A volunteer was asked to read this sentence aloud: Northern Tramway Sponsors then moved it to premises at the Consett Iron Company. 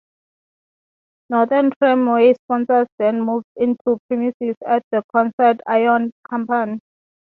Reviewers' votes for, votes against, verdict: 0, 3, rejected